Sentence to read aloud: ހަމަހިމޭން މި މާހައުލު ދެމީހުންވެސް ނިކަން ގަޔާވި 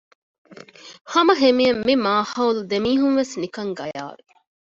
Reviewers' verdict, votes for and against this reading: accepted, 2, 0